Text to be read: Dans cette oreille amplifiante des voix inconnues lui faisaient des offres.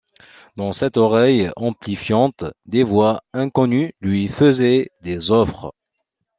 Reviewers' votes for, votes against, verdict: 2, 0, accepted